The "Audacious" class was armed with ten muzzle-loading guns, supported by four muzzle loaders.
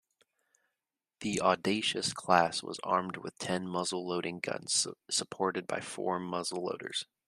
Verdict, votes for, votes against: rejected, 1, 2